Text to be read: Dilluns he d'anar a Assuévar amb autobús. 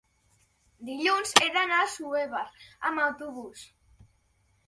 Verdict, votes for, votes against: accepted, 2, 0